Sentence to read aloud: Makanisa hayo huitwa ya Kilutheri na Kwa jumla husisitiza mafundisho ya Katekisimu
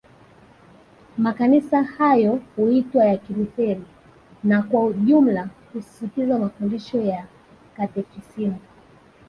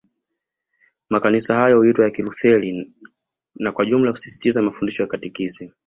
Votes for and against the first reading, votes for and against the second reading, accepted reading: 0, 2, 2, 1, second